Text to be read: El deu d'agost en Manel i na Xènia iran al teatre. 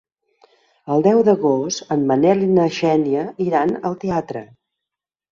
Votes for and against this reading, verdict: 3, 0, accepted